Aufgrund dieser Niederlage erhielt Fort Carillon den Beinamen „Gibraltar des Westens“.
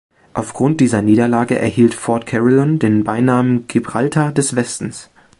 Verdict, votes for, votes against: accepted, 2, 0